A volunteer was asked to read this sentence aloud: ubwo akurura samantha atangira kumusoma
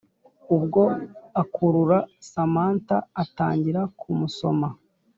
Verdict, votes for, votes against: accepted, 2, 0